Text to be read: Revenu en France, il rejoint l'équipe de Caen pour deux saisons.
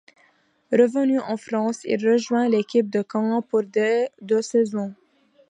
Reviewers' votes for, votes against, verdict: 1, 2, rejected